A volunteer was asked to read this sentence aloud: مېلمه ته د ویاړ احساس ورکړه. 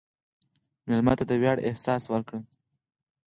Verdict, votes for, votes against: accepted, 4, 0